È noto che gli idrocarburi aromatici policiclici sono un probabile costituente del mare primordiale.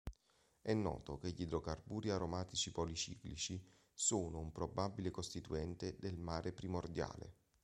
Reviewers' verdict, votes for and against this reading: accepted, 2, 0